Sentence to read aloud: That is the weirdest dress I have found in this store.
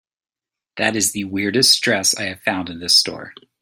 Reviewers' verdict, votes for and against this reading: accepted, 2, 0